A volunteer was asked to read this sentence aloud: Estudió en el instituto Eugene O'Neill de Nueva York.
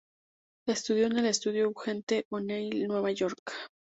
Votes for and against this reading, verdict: 0, 4, rejected